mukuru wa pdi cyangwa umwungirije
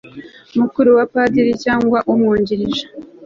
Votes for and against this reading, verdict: 0, 2, rejected